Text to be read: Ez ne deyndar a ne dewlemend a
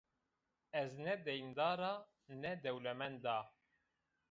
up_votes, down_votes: 1, 2